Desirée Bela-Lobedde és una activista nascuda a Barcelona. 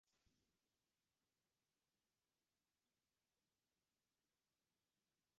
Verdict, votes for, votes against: rejected, 0, 3